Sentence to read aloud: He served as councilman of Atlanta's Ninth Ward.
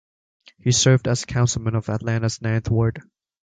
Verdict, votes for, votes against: accepted, 2, 0